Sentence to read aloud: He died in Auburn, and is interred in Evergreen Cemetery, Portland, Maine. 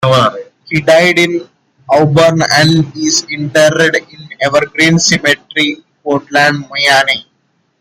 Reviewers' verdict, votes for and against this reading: rejected, 0, 2